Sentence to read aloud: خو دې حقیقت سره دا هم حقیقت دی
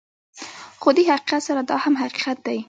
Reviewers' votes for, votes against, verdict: 1, 2, rejected